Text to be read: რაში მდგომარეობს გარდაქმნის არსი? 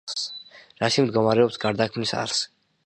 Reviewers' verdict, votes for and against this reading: accepted, 2, 0